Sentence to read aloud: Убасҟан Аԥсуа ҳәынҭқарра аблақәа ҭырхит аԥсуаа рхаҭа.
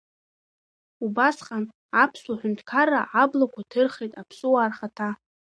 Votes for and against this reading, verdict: 1, 2, rejected